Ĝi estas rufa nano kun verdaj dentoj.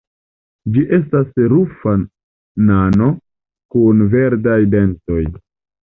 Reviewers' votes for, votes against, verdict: 2, 0, accepted